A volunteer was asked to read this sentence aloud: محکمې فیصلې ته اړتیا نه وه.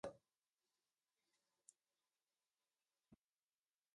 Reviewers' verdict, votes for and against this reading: rejected, 1, 2